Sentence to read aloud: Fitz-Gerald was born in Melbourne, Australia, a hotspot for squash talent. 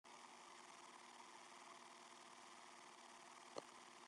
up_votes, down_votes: 0, 2